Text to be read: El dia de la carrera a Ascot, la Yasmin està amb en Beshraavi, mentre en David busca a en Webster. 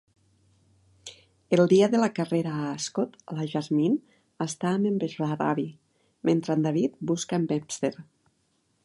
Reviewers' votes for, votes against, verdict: 1, 2, rejected